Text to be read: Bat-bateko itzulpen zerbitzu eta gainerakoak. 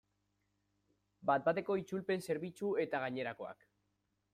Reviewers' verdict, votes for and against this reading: accepted, 2, 1